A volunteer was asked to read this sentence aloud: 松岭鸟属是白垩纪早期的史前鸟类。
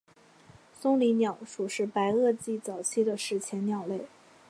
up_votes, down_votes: 6, 1